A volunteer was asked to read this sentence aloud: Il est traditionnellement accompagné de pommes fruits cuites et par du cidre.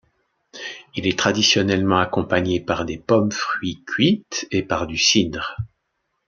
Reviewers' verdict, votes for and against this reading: rejected, 1, 2